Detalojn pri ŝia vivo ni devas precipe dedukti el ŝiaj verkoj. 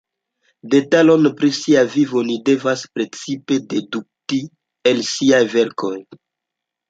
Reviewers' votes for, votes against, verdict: 2, 0, accepted